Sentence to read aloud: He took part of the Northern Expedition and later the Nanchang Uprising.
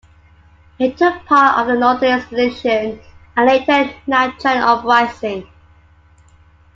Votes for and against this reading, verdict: 2, 0, accepted